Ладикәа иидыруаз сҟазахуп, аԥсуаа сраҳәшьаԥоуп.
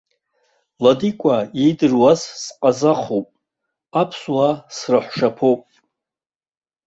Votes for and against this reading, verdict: 0, 2, rejected